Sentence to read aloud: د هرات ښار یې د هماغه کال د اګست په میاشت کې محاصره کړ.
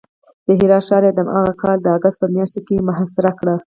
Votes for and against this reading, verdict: 2, 2, rejected